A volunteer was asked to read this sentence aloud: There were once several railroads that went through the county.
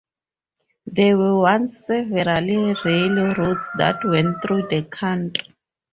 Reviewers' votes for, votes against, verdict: 2, 2, rejected